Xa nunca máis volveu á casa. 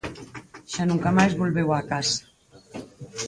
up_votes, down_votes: 2, 4